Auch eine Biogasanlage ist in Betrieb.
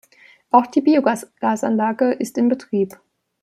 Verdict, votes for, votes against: rejected, 0, 2